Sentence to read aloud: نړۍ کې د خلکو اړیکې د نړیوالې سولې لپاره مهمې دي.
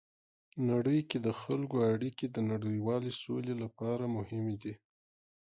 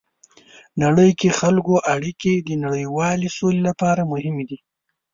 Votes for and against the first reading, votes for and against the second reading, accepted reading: 2, 0, 1, 2, first